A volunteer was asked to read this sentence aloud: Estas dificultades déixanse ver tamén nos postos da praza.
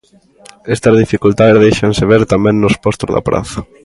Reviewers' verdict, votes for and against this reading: accepted, 2, 0